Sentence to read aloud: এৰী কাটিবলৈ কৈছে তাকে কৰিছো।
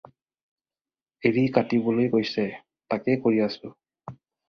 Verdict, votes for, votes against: rejected, 0, 2